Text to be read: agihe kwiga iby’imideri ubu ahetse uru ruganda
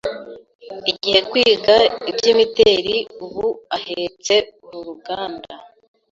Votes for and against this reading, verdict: 0, 2, rejected